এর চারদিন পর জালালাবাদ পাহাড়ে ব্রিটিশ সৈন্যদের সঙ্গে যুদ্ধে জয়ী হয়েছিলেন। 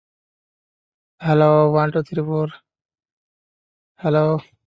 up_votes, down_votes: 0, 2